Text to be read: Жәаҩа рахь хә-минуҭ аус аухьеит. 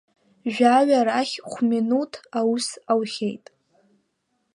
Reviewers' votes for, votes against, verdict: 2, 0, accepted